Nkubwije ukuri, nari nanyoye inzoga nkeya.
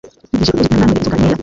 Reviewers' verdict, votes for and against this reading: rejected, 0, 2